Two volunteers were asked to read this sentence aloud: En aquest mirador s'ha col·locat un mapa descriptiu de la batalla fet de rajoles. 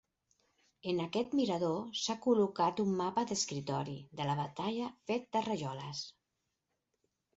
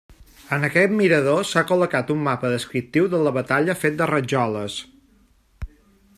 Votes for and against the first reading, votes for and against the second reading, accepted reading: 2, 4, 2, 0, second